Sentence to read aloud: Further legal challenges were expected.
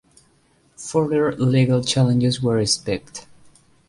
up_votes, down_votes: 0, 2